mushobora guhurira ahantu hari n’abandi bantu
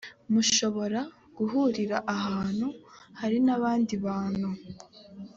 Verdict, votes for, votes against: accepted, 2, 0